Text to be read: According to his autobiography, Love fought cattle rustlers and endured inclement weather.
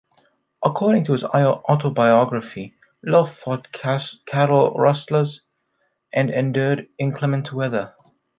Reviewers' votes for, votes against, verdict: 1, 2, rejected